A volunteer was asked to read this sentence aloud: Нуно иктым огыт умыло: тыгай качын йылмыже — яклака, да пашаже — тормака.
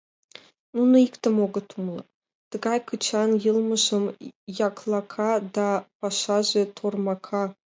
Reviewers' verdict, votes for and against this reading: rejected, 1, 2